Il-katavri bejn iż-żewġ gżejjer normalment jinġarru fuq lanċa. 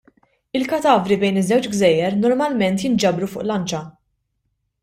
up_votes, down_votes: 1, 2